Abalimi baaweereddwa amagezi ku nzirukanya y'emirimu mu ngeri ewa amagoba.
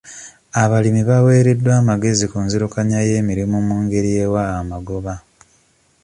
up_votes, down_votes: 2, 0